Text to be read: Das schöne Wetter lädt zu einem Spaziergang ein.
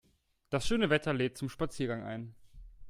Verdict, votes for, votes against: rejected, 1, 2